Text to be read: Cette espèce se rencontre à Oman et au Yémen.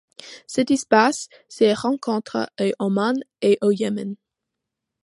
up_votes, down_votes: 1, 2